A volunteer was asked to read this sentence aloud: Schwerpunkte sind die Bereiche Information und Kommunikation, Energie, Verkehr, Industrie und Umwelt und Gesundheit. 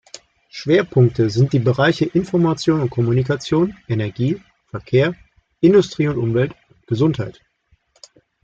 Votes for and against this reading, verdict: 1, 2, rejected